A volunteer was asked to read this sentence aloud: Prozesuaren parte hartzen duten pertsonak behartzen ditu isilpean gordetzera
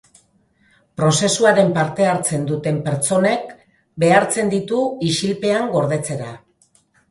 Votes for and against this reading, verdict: 1, 2, rejected